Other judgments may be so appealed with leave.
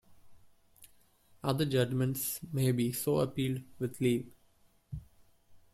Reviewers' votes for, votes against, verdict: 1, 2, rejected